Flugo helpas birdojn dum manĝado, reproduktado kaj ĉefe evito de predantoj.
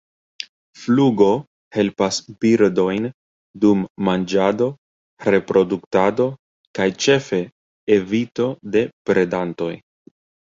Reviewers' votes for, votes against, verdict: 3, 0, accepted